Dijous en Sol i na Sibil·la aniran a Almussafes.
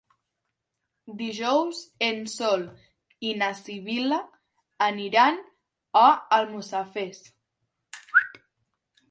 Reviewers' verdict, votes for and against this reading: rejected, 1, 2